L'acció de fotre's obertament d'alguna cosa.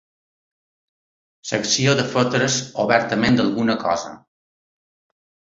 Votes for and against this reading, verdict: 2, 0, accepted